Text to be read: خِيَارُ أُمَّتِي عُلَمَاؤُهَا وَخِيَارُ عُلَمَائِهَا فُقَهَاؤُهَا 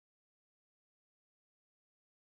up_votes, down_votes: 0, 2